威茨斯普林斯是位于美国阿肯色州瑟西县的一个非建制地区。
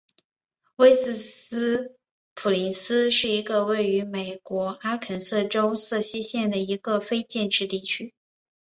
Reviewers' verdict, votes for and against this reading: rejected, 1, 2